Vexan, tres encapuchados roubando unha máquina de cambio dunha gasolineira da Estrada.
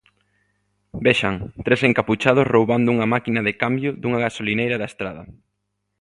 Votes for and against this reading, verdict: 2, 0, accepted